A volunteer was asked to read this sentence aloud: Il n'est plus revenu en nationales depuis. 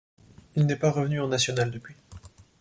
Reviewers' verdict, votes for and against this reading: rejected, 1, 2